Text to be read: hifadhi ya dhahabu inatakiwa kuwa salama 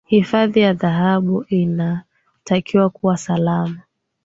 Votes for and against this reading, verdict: 1, 2, rejected